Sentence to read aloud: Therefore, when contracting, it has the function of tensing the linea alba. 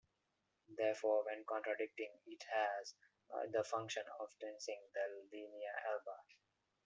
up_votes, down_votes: 0, 2